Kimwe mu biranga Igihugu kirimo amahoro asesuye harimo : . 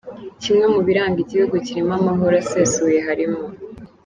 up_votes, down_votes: 2, 0